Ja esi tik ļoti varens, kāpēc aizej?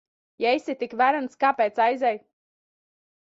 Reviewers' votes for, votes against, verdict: 1, 2, rejected